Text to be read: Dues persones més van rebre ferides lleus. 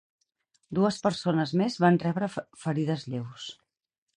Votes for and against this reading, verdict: 2, 4, rejected